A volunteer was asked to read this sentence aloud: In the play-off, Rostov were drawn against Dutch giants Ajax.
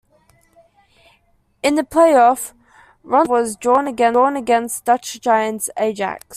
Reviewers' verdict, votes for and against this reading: rejected, 0, 2